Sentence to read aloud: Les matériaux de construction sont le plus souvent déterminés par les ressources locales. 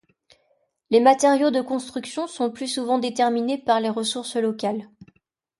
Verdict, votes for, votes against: rejected, 0, 2